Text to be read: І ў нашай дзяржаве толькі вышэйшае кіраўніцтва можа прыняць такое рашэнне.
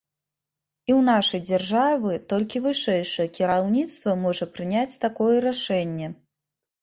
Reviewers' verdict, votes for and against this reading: rejected, 0, 2